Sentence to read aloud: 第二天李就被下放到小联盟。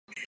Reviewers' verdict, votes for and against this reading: rejected, 1, 2